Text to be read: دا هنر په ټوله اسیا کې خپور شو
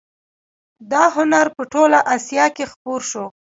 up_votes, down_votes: 1, 2